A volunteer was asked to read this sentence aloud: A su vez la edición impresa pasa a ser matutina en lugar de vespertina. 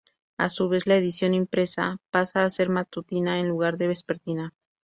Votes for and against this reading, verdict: 2, 0, accepted